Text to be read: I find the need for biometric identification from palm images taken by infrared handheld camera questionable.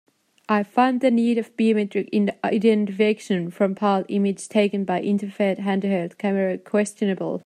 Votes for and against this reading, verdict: 0, 2, rejected